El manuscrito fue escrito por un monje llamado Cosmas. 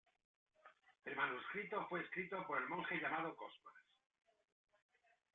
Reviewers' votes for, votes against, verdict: 2, 1, accepted